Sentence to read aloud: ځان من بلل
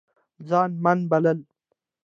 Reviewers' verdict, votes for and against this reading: accepted, 2, 0